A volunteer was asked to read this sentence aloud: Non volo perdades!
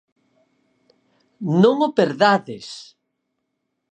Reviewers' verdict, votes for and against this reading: rejected, 2, 4